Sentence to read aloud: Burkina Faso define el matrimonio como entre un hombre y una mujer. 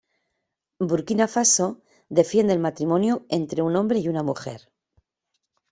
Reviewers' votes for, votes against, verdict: 0, 2, rejected